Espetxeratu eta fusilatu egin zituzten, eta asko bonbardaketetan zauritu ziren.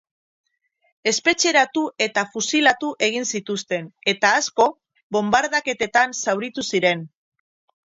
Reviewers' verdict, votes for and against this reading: accepted, 4, 0